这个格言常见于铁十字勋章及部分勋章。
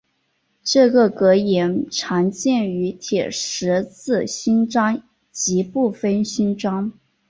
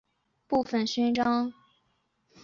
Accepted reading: first